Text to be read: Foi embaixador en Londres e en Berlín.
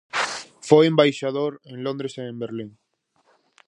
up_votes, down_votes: 4, 0